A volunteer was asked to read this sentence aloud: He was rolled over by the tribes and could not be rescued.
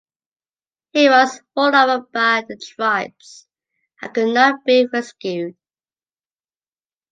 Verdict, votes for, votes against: accepted, 2, 0